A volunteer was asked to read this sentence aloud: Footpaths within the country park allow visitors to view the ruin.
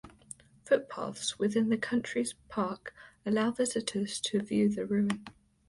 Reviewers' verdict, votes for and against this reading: rejected, 0, 2